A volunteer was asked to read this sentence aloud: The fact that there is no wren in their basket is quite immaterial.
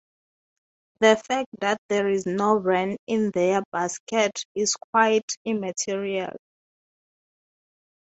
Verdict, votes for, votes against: accepted, 3, 0